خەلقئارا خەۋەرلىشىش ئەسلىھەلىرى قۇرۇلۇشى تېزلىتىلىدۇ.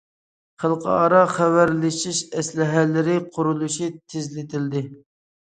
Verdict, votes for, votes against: rejected, 0, 2